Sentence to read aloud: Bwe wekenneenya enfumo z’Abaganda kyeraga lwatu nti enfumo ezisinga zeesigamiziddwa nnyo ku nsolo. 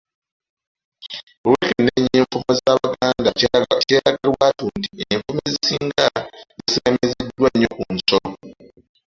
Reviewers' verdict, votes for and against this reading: rejected, 0, 2